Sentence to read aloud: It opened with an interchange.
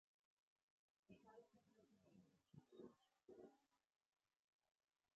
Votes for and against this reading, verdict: 0, 6, rejected